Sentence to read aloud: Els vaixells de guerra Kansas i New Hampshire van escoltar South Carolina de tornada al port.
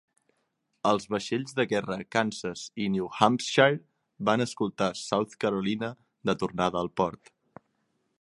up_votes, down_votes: 3, 0